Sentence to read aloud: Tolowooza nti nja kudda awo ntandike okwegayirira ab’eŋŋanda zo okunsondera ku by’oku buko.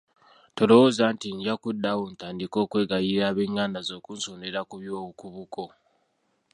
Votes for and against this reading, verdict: 1, 2, rejected